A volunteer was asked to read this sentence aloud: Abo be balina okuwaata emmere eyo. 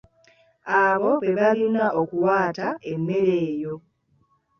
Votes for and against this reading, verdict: 2, 0, accepted